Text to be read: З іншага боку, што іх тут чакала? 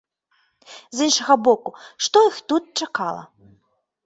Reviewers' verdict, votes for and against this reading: accepted, 2, 0